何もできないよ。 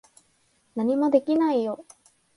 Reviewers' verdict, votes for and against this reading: accepted, 6, 0